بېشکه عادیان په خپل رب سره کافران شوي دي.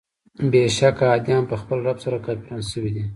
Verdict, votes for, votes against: rejected, 1, 2